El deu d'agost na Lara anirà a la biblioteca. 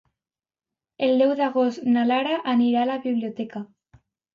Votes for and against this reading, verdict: 2, 0, accepted